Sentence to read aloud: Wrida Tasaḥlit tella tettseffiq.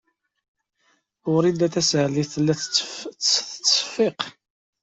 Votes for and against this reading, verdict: 0, 2, rejected